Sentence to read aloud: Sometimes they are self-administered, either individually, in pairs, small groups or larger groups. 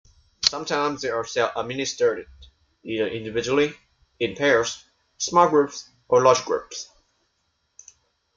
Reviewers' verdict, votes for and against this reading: rejected, 1, 2